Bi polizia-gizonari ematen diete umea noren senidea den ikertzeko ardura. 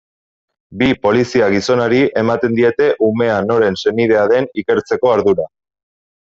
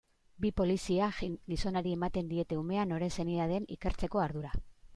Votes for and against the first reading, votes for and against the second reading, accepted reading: 2, 0, 1, 2, first